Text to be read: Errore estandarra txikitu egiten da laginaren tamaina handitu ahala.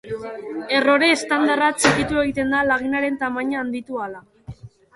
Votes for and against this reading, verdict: 1, 2, rejected